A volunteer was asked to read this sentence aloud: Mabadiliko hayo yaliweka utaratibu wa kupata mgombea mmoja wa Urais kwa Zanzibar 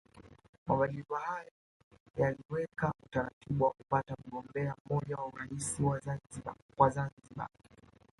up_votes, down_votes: 0, 2